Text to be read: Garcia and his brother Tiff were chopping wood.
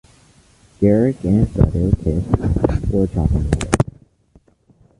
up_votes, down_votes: 1, 2